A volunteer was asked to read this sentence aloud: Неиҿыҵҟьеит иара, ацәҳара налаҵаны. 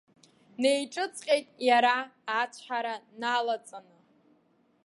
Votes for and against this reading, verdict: 2, 0, accepted